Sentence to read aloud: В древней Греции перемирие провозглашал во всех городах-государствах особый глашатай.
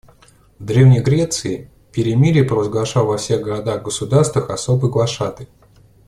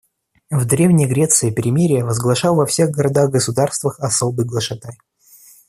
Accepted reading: first